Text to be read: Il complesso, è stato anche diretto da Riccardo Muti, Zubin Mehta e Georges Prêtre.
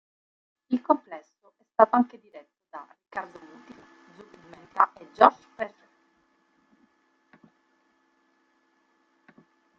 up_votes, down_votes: 1, 3